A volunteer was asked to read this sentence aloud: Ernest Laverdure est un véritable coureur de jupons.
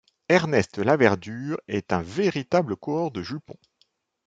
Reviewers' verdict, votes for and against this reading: accepted, 2, 0